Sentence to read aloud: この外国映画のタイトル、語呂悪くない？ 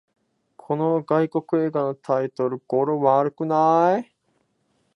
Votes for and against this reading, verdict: 1, 3, rejected